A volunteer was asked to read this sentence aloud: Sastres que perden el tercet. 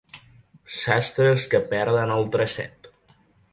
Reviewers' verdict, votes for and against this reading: rejected, 0, 2